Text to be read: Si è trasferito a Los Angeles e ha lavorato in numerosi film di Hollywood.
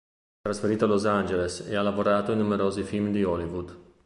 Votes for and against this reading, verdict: 0, 2, rejected